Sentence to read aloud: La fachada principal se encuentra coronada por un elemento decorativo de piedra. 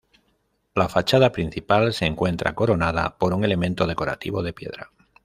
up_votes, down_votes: 2, 0